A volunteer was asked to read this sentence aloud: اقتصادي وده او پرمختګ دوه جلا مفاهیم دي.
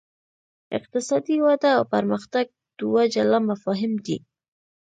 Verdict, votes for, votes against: rejected, 1, 2